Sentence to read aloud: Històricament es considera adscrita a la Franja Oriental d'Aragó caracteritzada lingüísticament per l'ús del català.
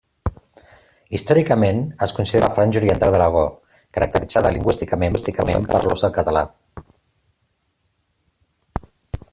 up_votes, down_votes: 0, 2